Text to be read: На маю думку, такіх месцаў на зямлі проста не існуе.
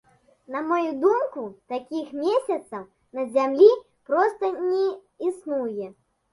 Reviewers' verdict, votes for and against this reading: rejected, 0, 3